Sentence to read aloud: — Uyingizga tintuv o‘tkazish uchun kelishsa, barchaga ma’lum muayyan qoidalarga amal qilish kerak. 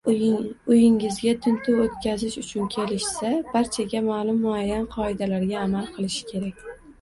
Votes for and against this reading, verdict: 0, 2, rejected